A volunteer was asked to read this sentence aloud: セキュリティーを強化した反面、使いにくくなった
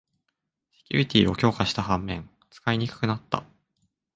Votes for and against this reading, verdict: 2, 0, accepted